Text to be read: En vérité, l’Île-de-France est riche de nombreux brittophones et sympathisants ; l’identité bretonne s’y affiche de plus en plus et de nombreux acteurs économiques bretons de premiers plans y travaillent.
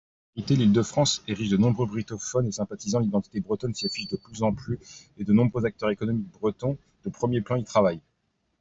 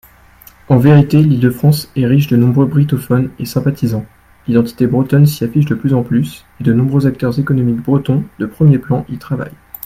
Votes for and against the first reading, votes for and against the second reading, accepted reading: 1, 2, 2, 0, second